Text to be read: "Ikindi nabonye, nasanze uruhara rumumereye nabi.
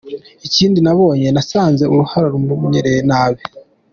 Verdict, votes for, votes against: accepted, 2, 0